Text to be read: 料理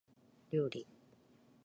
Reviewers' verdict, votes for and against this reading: accepted, 2, 0